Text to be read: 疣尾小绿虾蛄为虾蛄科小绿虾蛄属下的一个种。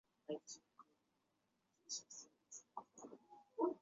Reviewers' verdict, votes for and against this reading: rejected, 0, 2